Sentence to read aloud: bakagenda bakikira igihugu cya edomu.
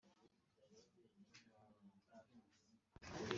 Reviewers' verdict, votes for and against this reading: rejected, 0, 3